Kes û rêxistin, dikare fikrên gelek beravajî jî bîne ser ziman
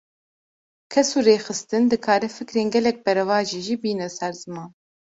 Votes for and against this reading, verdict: 2, 0, accepted